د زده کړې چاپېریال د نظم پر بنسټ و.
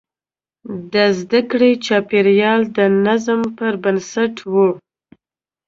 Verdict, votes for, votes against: accepted, 2, 0